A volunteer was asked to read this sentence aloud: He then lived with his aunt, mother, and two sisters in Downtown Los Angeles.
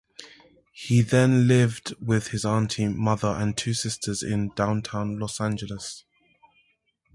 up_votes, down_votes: 2, 0